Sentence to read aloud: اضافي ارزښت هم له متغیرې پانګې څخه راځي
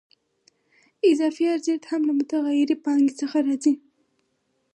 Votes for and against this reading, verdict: 4, 0, accepted